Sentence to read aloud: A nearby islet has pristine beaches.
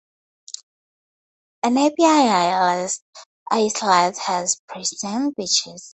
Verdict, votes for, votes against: accepted, 4, 2